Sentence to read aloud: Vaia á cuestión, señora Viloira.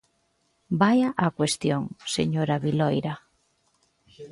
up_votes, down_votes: 2, 0